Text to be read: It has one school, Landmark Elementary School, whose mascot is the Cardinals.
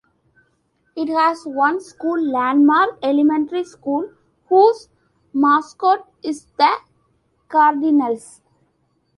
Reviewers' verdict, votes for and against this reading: accepted, 2, 1